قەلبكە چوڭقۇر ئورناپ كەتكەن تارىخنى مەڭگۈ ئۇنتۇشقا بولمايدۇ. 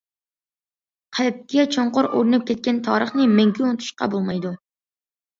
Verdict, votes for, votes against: accepted, 2, 0